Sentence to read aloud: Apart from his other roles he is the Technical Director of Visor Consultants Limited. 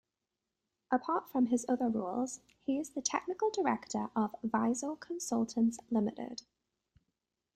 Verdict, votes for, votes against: accepted, 2, 0